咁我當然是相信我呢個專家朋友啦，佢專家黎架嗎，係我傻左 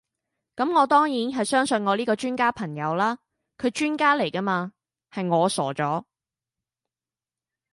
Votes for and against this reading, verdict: 0, 2, rejected